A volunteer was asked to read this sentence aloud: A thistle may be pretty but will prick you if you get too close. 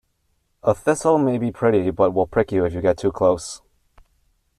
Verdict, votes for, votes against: accepted, 2, 0